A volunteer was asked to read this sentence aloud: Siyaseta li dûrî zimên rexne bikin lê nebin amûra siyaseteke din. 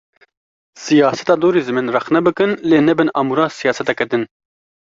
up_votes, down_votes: 2, 1